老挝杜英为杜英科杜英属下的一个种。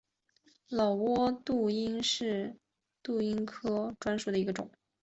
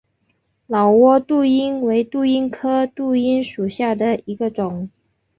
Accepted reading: second